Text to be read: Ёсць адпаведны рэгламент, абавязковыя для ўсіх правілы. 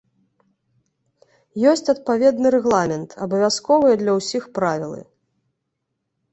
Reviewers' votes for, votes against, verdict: 2, 0, accepted